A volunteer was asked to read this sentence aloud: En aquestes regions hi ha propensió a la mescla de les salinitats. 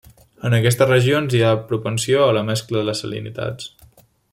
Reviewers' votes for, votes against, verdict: 3, 0, accepted